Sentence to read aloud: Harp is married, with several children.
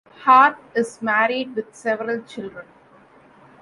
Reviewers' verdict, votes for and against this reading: accepted, 2, 0